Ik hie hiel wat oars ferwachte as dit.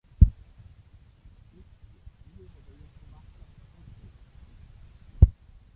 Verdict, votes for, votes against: rejected, 1, 2